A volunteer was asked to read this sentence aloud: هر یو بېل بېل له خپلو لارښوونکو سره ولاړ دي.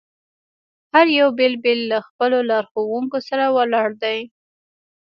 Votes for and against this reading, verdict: 2, 0, accepted